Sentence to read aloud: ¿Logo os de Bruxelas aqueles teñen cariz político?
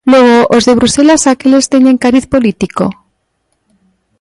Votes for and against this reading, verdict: 2, 0, accepted